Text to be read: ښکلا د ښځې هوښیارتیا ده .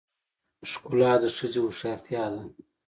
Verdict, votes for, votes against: accepted, 2, 0